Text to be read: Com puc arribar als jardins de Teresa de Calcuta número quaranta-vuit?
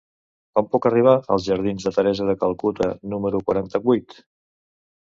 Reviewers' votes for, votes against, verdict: 2, 0, accepted